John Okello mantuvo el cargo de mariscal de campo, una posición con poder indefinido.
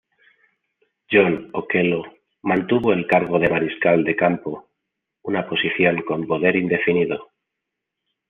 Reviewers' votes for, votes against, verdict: 2, 0, accepted